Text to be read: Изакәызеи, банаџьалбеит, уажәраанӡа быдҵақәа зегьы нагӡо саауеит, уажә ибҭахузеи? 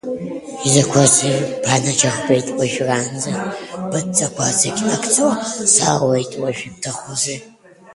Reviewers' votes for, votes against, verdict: 0, 2, rejected